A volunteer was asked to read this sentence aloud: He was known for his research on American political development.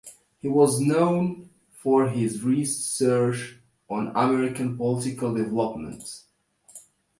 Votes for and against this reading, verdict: 2, 0, accepted